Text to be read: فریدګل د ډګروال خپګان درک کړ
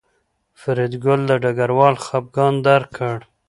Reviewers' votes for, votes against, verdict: 2, 0, accepted